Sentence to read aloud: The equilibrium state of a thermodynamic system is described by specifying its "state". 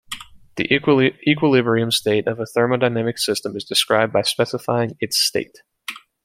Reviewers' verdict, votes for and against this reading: rejected, 1, 2